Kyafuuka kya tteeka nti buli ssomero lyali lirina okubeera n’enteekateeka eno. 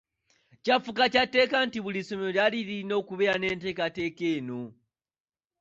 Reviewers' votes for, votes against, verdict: 2, 0, accepted